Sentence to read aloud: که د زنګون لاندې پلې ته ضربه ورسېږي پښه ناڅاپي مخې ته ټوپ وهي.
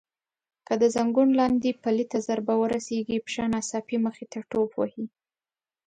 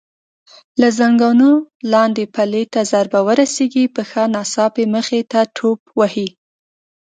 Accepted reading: first